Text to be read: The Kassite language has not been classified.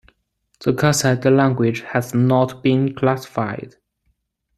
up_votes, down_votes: 0, 2